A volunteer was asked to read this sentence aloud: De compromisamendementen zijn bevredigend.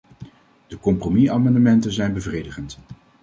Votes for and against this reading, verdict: 2, 0, accepted